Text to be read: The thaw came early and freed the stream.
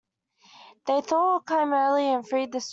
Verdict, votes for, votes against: rejected, 1, 2